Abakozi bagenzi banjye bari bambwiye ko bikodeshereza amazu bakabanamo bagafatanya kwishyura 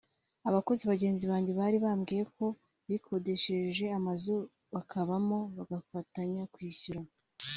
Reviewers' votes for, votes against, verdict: 1, 2, rejected